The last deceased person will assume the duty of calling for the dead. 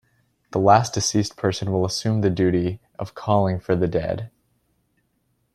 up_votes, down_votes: 2, 0